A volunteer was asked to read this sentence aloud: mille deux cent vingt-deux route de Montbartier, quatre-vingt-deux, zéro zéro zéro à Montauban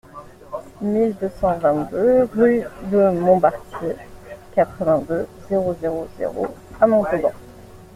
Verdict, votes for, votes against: accepted, 2, 1